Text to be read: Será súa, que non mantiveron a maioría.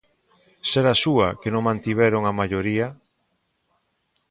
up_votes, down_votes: 4, 0